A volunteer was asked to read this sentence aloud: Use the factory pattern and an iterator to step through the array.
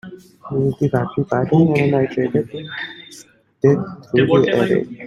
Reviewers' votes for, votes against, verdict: 0, 2, rejected